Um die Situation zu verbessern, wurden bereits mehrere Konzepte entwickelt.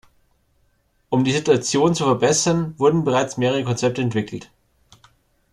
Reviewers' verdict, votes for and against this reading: accepted, 2, 1